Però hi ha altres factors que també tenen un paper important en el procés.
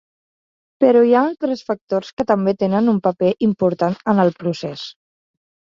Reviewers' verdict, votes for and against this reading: accepted, 3, 1